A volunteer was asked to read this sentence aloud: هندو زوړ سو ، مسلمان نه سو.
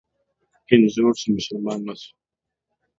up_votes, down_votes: 3, 1